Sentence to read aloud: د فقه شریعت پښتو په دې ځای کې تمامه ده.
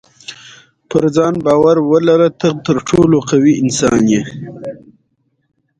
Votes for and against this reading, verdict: 2, 0, accepted